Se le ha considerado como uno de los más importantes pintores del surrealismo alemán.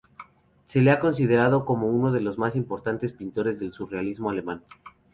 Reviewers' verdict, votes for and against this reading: accepted, 2, 0